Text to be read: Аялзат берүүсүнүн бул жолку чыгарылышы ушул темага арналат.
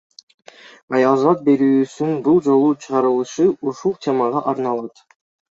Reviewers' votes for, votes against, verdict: 1, 2, rejected